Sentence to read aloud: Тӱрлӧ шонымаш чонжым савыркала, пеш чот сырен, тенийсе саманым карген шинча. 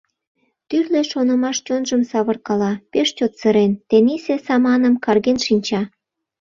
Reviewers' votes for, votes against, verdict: 2, 0, accepted